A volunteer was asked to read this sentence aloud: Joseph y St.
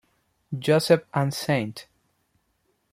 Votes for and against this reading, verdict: 0, 2, rejected